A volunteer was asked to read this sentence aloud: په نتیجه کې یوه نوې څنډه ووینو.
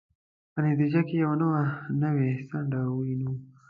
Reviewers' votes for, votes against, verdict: 2, 0, accepted